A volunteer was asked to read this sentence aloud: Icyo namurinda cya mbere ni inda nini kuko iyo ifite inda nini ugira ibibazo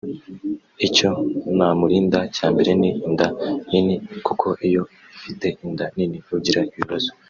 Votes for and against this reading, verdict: 1, 2, rejected